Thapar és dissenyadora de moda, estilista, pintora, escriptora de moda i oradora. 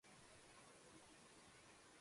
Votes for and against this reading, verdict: 0, 2, rejected